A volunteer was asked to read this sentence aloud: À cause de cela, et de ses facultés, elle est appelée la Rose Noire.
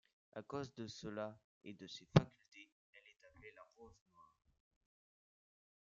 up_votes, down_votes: 2, 0